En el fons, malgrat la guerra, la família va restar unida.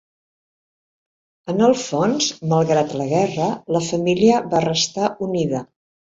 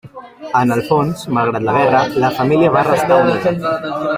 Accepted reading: first